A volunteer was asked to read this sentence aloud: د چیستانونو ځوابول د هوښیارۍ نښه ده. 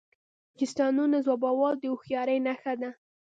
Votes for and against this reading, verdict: 1, 2, rejected